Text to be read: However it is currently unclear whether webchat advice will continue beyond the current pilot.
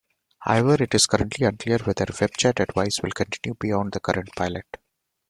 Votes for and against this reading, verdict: 2, 3, rejected